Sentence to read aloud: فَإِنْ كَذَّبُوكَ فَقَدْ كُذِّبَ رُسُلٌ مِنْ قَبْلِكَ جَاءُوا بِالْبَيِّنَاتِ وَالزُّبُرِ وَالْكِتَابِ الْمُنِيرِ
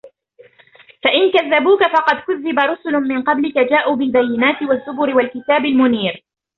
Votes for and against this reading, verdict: 1, 2, rejected